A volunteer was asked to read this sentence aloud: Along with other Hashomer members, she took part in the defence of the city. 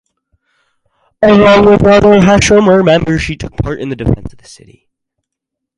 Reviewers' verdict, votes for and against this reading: rejected, 0, 4